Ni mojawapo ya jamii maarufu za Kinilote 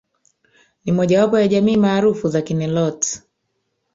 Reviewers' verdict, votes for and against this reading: rejected, 1, 2